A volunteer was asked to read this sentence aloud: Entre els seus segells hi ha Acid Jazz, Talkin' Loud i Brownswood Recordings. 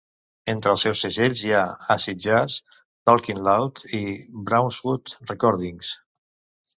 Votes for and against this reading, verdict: 2, 1, accepted